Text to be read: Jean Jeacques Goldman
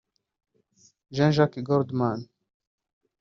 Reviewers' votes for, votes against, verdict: 1, 2, rejected